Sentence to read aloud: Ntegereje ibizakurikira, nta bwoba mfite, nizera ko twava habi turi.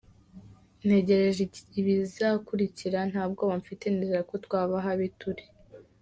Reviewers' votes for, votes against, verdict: 1, 2, rejected